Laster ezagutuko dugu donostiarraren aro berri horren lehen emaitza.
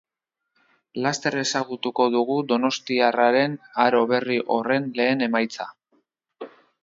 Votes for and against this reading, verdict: 2, 0, accepted